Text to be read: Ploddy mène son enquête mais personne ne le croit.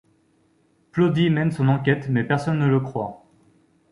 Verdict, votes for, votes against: accepted, 2, 0